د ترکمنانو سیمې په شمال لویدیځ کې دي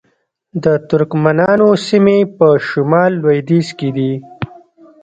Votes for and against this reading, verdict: 2, 0, accepted